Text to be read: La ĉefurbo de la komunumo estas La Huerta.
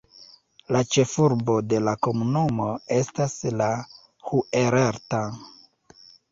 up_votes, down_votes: 0, 4